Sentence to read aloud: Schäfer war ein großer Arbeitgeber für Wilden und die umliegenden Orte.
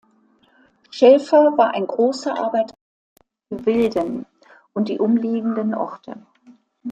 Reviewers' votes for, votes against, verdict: 0, 2, rejected